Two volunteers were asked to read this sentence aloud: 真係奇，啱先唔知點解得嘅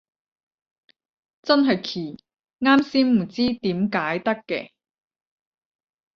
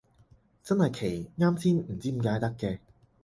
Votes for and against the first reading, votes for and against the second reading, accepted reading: 0, 10, 4, 0, second